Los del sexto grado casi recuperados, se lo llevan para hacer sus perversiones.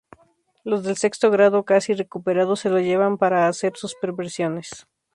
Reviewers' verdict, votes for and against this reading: accepted, 2, 0